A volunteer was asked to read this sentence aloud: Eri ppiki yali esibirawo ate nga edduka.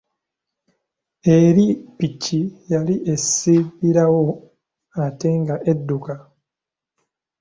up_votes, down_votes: 2, 1